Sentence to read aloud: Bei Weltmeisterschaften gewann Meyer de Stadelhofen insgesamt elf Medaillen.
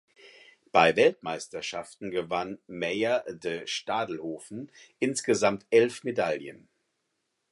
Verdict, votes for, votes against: accepted, 4, 0